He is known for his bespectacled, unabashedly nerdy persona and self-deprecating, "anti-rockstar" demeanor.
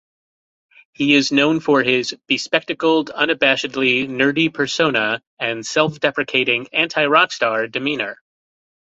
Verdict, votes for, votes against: accepted, 2, 0